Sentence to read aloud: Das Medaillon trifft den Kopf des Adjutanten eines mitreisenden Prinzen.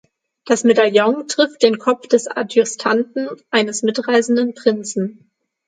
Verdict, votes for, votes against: rejected, 0, 6